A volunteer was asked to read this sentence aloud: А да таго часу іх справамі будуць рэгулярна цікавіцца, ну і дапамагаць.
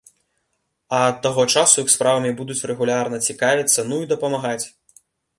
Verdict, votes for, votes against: rejected, 1, 2